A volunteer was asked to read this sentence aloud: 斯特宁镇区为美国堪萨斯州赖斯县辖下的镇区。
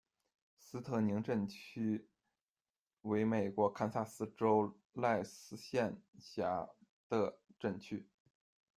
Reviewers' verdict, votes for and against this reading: rejected, 1, 2